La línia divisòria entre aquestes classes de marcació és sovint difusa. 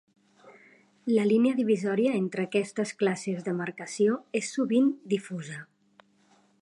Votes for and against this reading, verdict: 2, 0, accepted